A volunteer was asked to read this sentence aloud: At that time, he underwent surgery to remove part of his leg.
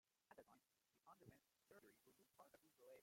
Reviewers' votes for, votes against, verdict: 0, 2, rejected